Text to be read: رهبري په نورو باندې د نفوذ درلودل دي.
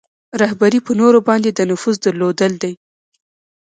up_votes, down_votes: 2, 0